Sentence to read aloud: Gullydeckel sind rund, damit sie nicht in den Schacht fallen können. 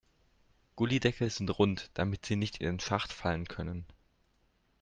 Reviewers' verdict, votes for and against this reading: accepted, 2, 0